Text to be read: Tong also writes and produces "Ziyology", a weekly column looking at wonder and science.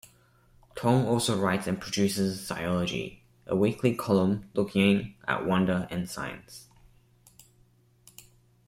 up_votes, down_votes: 2, 0